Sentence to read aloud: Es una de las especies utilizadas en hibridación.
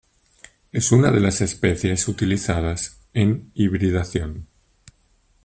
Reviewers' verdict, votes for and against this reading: accepted, 2, 0